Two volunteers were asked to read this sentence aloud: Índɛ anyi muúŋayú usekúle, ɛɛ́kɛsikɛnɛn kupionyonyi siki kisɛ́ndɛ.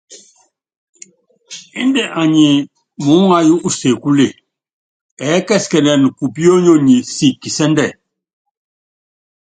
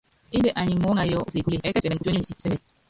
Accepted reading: first